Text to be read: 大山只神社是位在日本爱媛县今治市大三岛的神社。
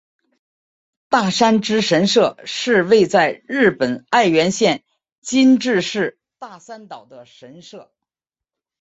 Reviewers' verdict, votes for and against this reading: accepted, 2, 0